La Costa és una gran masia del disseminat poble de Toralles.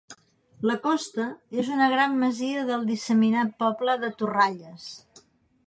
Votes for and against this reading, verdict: 2, 0, accepted